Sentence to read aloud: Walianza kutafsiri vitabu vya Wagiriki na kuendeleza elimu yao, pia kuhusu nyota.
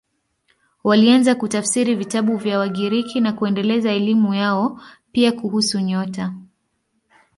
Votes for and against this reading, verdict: 2, 0, accepted